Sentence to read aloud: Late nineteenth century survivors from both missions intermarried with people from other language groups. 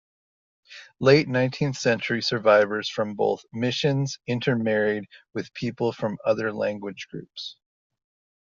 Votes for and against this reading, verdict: 2, 0, accepted